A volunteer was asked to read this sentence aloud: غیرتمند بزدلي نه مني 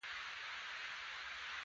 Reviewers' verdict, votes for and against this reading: rejected, 0, 2